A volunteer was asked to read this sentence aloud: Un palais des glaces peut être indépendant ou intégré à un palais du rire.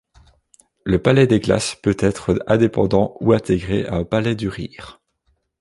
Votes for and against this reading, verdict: 0, 2, rejected